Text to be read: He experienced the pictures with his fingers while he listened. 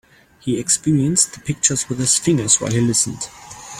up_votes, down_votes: 3, 0